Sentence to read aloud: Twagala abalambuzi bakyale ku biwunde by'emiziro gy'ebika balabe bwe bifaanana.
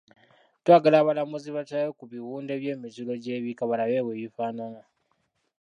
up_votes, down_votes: 2, 1